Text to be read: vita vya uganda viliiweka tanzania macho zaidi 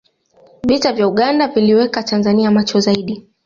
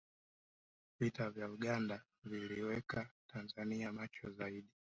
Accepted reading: first